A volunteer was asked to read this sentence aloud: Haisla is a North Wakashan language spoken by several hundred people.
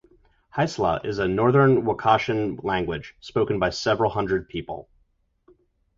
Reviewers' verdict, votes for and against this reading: rejected, 0, 2